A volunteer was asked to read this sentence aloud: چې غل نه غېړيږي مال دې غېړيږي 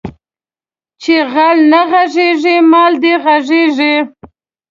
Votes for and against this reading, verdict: 0, 2, rejected